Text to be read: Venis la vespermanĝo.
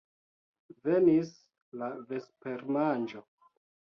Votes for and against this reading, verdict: 2, 0, accepted